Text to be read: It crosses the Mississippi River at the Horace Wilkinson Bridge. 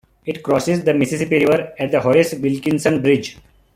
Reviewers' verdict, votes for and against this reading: rejected, 0, 2